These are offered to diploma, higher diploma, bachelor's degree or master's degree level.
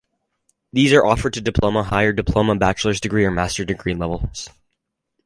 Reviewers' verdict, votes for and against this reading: rejected, 0, 2